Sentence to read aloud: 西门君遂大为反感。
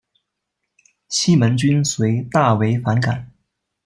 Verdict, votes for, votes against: accepted, 2, 1